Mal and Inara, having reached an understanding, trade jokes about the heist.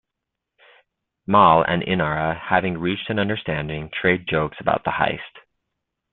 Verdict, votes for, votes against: accepted, 2, 0